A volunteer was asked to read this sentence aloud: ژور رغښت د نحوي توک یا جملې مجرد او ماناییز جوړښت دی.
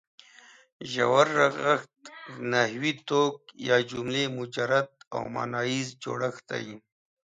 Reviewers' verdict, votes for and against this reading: accepted, 2, 1